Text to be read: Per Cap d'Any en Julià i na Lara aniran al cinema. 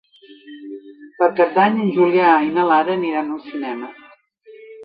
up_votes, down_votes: 0, 2